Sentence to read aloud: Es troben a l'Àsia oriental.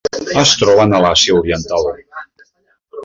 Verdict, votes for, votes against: accepted, 2, 0